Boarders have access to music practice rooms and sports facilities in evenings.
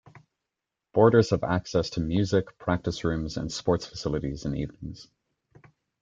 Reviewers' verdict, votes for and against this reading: accepted, 2, 0